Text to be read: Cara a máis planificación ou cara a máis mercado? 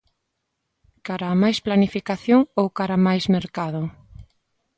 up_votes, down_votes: 2, 0